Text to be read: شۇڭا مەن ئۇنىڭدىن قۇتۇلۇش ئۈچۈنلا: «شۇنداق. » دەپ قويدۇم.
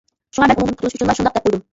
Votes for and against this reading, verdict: 0, 2, rejected